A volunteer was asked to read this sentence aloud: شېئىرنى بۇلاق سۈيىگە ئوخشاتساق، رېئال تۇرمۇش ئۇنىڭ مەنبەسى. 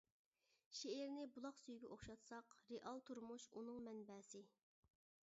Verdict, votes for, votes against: accepted, 2, 1